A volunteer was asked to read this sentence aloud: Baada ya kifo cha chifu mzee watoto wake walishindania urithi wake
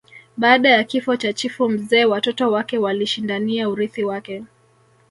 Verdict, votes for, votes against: accepted, 2, 1